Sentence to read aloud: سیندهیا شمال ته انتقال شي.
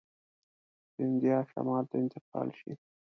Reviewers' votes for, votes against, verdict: 1, 2, rejected